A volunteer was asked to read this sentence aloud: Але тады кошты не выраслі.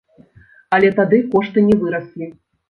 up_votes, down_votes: 3, 0